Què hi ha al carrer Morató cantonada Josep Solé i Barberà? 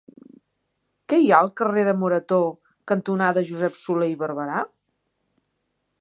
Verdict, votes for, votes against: rejected, 0, 2